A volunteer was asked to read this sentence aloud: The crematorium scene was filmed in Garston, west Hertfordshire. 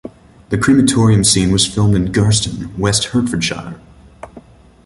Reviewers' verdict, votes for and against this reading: rejected, 1, 2